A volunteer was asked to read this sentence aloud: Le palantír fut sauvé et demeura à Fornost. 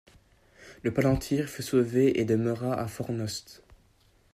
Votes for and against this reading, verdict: 2, 0, accepted